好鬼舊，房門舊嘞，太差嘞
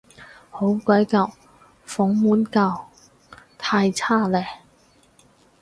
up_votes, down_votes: 0, 4